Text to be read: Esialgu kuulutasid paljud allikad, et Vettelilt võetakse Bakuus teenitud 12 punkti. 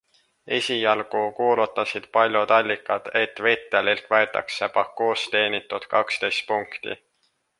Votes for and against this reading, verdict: 0, 2, rejected